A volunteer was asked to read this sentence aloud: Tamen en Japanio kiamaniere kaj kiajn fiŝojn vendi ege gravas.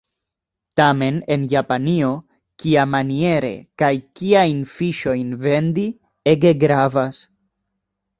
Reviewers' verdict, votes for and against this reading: accepted, 2, 0